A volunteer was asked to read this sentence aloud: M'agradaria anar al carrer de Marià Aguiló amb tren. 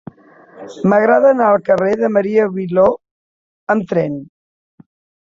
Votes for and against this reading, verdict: 0, 2, rejected